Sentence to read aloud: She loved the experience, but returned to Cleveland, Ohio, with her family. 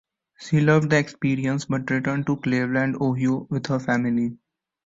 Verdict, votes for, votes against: rejected, 1, 2